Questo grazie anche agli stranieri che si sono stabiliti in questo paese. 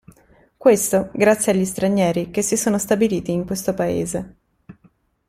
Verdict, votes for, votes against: rejected, 1, 2